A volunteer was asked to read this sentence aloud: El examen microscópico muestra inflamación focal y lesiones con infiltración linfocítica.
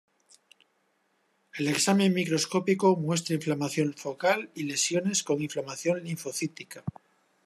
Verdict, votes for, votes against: rejected, 1, 3